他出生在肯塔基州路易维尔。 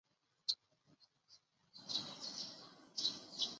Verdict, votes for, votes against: rejected, 1, 5